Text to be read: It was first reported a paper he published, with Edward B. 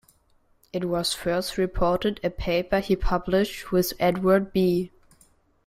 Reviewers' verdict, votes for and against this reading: accepted, 2, 0